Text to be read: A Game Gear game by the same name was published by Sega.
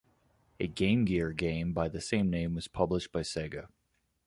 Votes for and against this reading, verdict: 2, 0, accepted